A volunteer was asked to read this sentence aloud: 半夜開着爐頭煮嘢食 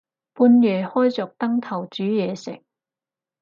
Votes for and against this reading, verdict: 0, 4, rejected